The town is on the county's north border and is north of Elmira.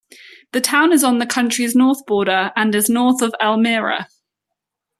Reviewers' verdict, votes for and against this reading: rejected, 1, 2